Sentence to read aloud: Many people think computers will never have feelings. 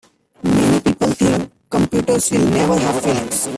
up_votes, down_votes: 0, 2